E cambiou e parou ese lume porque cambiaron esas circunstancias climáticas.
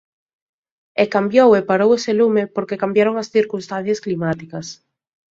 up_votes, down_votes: 1, 2